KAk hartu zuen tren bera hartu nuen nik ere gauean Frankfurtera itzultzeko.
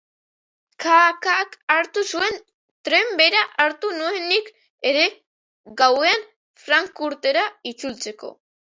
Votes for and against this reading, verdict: 0, 2, rejected